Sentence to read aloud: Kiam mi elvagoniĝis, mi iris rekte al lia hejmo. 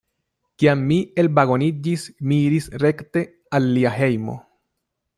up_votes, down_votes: 2, 1